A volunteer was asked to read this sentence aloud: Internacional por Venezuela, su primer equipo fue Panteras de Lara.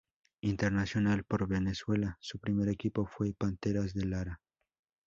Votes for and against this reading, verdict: 4, 0, accepted